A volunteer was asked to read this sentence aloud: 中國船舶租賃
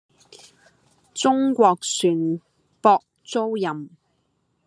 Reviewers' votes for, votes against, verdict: 0, 2, rejected